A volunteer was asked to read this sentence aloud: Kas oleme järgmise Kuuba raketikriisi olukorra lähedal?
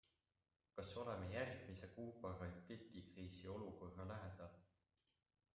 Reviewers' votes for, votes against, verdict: 2, 0, accepted